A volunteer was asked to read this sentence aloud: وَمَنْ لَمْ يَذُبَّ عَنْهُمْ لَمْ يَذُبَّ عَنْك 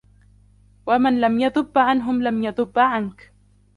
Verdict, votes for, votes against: accepted, 2, 1